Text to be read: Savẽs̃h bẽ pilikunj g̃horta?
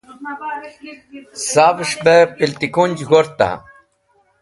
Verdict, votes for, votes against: rejected, 1, 2